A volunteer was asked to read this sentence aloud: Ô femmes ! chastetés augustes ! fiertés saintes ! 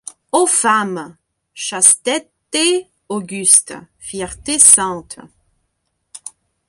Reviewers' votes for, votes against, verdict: 0, 2, rejected